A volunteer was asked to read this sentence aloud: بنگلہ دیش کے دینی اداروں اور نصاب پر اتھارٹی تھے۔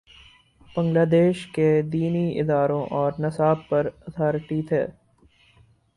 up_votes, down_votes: 4, 0